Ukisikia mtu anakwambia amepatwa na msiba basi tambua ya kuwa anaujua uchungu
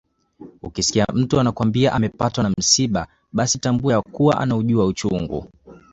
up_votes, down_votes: 2, 0